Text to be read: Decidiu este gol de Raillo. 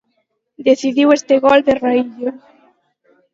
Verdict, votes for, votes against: accepted, 12, 10